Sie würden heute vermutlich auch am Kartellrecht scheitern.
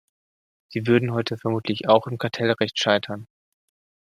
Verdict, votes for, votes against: accepted, 2, 1